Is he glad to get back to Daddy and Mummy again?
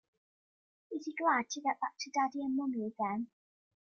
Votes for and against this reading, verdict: 2, 0, accepted